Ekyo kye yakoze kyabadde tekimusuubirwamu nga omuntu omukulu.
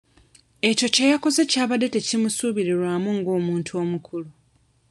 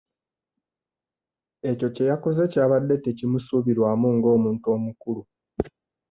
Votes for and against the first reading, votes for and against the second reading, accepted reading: 0, 2, 2, 0, second